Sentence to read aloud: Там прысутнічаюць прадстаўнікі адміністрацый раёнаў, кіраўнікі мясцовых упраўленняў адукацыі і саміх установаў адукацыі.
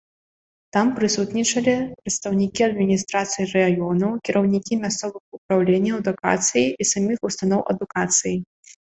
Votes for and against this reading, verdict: 0, 2, rejected